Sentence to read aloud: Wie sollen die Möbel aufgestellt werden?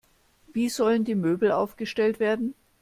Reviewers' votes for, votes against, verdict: 2, 0, accepted